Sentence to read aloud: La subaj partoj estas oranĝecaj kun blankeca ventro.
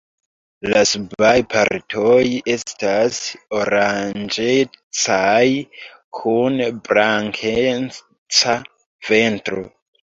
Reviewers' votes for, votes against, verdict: 0, 3, rejected